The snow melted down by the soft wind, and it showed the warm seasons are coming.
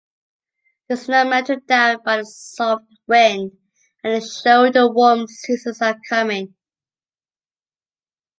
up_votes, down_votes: 2, 0